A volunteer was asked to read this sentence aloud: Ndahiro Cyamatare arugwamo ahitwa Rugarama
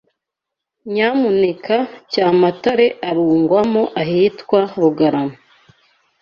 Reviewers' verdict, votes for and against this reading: rejected, 0, 2